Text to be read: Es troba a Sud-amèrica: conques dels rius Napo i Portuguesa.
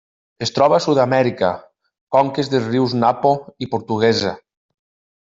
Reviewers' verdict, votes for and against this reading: rejected, 1, 2